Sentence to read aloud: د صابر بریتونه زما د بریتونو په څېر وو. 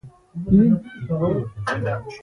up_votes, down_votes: 2, 3